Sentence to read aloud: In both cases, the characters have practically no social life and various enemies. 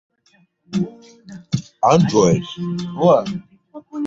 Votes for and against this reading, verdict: 0, 2, rejected